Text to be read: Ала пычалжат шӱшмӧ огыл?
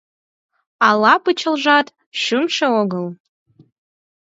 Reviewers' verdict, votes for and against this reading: accepted, 4, 0